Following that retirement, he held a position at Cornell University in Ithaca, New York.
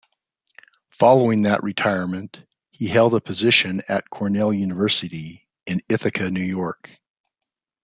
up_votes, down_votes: 2, 0